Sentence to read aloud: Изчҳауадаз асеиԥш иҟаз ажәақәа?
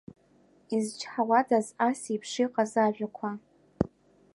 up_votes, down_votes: 2, 0